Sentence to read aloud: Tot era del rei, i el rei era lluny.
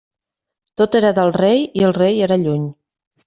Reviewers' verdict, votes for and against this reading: accepted, 3, 0